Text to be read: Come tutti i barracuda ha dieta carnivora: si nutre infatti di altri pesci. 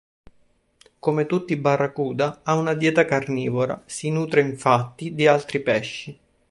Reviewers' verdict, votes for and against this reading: rejected, 1, 2